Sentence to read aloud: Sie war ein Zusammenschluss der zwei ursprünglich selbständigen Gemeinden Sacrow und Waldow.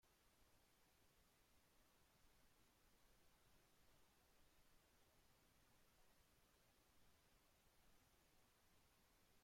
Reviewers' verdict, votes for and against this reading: rejected, 0, 2